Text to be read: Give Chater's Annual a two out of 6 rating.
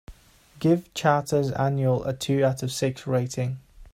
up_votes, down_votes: 0, 2